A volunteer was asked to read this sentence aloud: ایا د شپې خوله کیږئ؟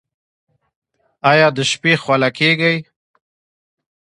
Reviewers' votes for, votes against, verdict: 1, 2, rejected